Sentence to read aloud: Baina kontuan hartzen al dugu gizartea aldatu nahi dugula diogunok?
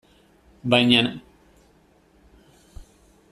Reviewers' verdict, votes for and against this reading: rejected, 0, 2